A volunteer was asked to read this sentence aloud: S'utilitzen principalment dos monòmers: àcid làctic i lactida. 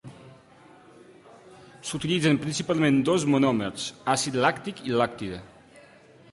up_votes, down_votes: 2, 0